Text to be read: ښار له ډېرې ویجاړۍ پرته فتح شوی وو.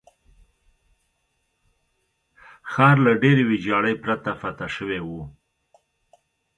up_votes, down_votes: 2, 1